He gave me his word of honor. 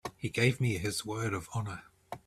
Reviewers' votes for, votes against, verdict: 2, 0, accepted